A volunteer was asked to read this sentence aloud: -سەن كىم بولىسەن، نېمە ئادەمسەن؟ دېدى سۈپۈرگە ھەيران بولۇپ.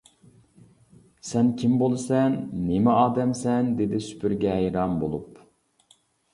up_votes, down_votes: 2, 1